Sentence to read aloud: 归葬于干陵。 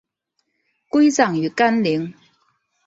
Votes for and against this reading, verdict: 3, 0, accepted